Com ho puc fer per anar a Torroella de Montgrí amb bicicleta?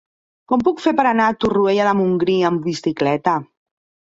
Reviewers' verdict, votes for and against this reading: rejected, 0, 2